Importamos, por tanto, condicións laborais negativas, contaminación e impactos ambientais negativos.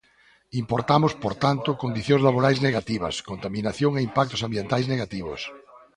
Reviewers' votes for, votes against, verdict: 1, 2, rejected